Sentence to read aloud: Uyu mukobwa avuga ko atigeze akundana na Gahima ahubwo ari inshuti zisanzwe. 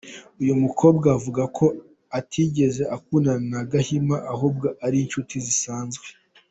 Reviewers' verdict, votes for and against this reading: rejected, 0, 2